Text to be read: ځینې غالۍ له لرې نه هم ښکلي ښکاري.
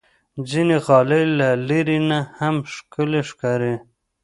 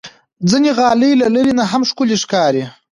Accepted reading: second